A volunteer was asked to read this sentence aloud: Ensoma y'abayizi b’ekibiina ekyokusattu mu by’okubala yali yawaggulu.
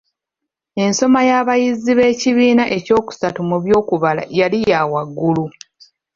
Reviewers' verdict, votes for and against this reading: accepted, 2, 1